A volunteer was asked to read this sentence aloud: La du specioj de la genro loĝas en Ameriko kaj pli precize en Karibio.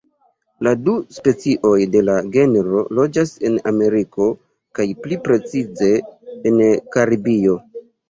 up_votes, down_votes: 2, 1